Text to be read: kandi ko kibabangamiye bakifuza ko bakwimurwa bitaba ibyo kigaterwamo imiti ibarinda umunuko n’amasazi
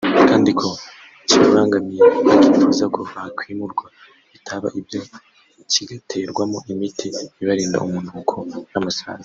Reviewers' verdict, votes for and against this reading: rejected, 1, 2